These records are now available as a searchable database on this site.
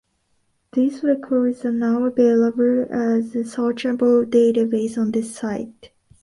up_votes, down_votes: 2, 0